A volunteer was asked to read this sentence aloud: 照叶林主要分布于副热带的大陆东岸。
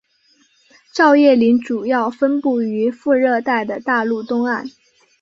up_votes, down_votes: 2, 0